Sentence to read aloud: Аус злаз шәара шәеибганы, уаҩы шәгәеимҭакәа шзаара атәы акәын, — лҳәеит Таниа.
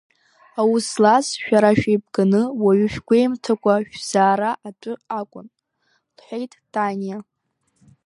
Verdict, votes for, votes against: rejected, 0, 2